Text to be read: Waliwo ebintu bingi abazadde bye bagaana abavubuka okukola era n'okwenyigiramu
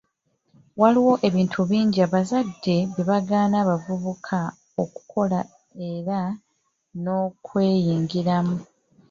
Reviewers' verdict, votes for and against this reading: rejected, 0, 2